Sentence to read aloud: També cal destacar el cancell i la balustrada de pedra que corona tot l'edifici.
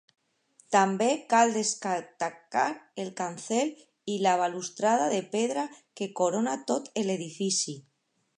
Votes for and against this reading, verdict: 0, 2, rejected